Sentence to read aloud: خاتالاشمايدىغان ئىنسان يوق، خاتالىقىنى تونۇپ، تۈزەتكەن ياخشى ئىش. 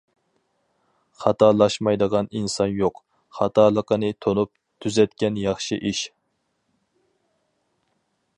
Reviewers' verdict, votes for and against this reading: accepted, 4, 0